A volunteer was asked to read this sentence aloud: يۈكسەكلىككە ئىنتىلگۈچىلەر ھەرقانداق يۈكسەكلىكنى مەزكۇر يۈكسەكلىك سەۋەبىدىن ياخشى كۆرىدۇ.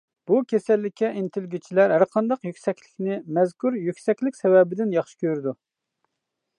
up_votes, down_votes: 0, 2